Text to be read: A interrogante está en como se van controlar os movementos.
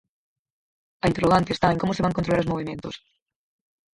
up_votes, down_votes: 0, 4